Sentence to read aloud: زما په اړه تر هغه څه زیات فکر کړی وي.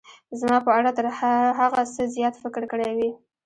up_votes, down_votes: 2, 0